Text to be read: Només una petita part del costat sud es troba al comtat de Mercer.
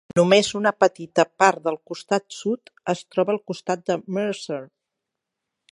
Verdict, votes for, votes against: rejected, 0, 6